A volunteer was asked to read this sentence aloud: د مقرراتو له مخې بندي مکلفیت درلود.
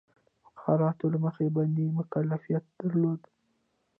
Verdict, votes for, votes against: rejected, 0, 2